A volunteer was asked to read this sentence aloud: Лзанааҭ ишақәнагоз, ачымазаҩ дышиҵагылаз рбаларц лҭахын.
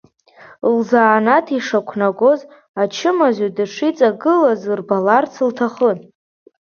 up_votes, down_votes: 2, 0